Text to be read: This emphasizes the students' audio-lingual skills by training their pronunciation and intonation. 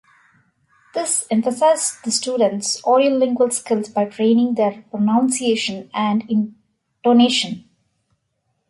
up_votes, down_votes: 2, 3